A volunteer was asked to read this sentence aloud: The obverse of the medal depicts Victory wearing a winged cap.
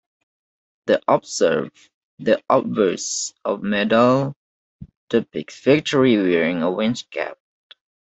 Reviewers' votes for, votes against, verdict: 0, 2, rejected